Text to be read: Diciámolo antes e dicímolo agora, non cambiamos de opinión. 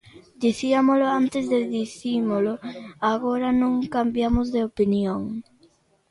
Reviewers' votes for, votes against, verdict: 2, 0, accepted